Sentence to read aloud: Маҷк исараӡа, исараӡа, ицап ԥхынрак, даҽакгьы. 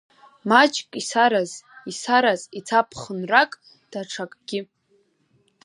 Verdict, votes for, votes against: rejected, 0, 3